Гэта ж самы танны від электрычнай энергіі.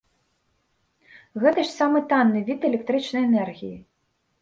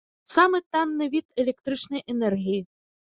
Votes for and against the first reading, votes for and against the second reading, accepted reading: 3, 0, 1, 2, first